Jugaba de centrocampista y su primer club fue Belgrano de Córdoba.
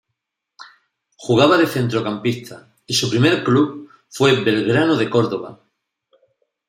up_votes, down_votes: 2, 0